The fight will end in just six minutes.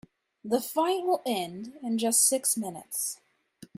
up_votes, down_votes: 2, 0